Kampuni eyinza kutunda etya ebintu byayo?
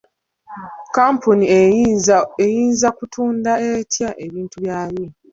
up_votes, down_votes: 2, 0